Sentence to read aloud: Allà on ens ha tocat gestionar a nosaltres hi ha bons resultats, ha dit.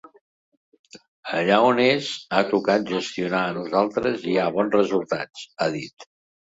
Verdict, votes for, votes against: rejected, 0, 2